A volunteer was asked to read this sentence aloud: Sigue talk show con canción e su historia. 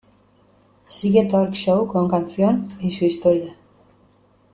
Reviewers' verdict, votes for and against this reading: accepted, 2, 1